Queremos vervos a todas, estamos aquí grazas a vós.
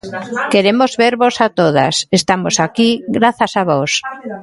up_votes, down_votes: 2, 0